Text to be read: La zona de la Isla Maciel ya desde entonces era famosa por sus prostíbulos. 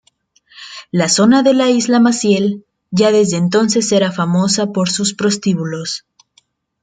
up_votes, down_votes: 1, 2